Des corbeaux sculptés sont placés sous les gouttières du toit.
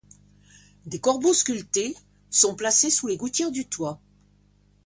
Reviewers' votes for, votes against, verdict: 2, 0, accepted